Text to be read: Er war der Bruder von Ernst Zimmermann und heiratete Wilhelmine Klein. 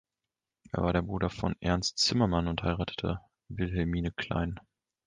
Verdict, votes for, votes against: accepted, 2, 0